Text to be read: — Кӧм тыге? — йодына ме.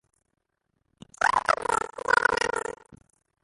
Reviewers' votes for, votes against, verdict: 0, 2, rejected